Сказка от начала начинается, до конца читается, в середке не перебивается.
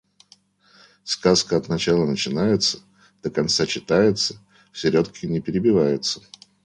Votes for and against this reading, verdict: 2, 0, accepted